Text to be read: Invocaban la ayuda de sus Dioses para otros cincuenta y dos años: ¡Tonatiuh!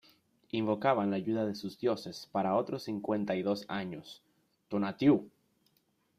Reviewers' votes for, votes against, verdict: 2, 0, accepted